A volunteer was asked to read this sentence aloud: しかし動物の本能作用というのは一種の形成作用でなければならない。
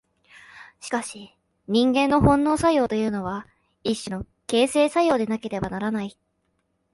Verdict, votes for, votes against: rejected, 0, 2